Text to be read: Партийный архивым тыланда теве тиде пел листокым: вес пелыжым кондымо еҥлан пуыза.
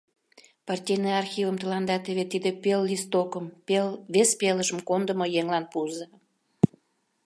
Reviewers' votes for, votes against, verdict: 0, 2, rejected